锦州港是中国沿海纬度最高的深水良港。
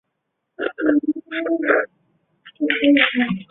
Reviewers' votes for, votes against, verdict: 0, 3, rejected